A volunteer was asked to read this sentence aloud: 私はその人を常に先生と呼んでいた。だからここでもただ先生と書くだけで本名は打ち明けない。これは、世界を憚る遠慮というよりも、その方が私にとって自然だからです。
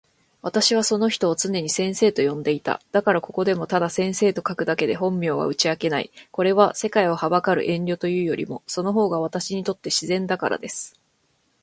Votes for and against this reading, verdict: 2, 1, accepted